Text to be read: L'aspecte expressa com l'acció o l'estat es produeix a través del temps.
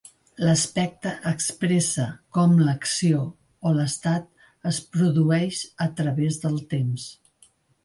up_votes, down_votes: 2, 0